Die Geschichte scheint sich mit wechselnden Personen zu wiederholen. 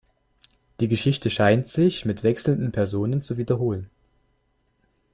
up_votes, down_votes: 2, 0